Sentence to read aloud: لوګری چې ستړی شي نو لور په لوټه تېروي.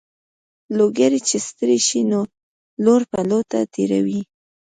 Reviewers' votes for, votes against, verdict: 1, 2, rejected